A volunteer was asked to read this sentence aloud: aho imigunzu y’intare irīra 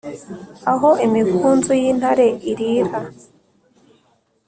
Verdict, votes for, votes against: accepted, 2, 0